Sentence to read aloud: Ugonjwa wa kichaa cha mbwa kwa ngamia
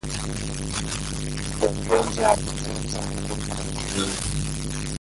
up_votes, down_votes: 0, 2